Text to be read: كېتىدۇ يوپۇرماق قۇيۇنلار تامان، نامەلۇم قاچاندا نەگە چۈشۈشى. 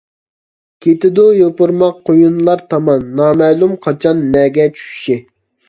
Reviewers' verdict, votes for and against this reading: rejected, 0, 2